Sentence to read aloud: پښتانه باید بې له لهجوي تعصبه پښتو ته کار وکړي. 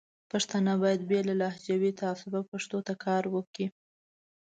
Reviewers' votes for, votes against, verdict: 2, 0, accepted